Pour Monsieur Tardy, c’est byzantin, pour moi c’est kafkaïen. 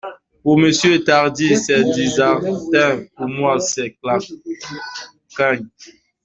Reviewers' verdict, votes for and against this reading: rejected, 0, 2